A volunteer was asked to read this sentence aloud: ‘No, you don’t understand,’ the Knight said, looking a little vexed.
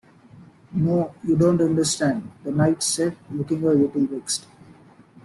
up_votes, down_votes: 0, 2